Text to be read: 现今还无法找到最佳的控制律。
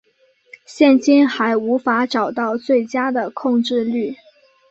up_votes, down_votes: 3, 0